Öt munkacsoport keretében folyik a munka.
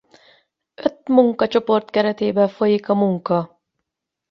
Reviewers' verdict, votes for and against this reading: rejected, 4, 8